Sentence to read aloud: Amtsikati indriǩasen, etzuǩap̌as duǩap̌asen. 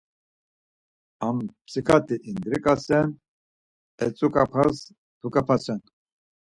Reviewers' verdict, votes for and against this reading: accepted, 4, 0